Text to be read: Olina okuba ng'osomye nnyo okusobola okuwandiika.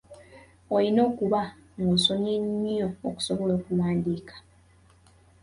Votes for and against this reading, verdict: 2, 1, accepted